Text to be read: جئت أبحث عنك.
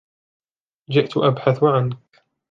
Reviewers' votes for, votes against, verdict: 2, 0, accepted